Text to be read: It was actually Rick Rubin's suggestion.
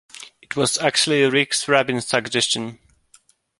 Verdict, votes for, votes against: rejected, 0, 2